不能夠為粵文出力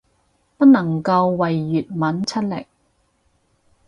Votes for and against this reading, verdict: 4, 0, accepted